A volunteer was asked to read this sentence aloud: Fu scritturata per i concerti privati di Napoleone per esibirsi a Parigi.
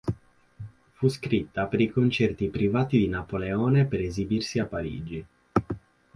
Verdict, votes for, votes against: rejected, 0, 8